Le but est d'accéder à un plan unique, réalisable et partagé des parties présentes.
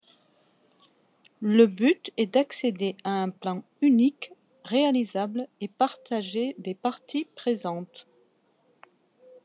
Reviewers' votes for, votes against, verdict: 2, 0, accepted